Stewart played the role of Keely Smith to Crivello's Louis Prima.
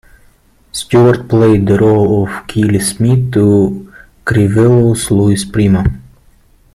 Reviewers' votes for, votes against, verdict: 2, 0, accepted